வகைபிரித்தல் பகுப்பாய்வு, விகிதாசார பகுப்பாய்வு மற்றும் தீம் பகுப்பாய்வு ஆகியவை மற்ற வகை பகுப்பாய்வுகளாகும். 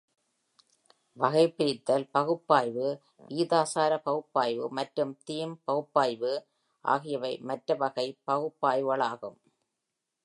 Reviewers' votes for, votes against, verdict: 2, 0, accepted